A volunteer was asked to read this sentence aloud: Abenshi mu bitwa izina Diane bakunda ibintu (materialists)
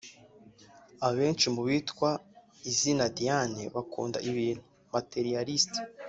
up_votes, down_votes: 2, 0